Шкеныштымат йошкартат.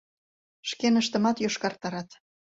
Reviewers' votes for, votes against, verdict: 1, 2, rejected